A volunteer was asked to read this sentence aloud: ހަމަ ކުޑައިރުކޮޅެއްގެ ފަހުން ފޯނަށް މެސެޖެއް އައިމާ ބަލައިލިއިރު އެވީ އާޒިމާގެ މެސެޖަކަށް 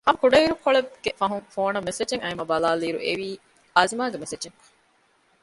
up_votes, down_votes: 0, 2